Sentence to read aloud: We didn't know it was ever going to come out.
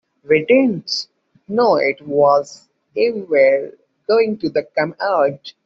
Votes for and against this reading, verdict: 2, 0, accepted